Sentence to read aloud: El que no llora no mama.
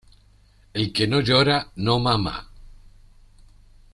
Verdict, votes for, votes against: accepted, 2, 0